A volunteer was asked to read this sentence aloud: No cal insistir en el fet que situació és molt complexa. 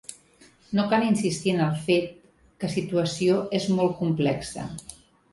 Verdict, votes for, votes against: accepted, 2, 0